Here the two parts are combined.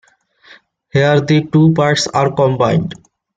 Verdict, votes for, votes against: accepted, 2, 0